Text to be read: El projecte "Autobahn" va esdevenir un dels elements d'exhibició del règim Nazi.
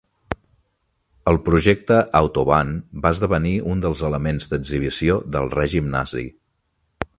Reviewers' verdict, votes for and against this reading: accepted, 3, 0